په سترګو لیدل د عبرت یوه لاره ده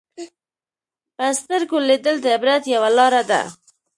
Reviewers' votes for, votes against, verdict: 1, 2, rejected